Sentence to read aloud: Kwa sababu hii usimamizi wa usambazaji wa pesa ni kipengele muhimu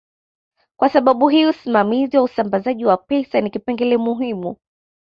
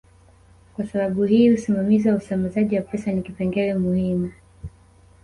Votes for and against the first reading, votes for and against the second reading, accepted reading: 2, 0, 0, 2, first